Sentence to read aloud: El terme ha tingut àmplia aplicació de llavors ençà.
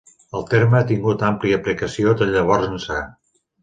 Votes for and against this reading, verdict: 2, 0, accepted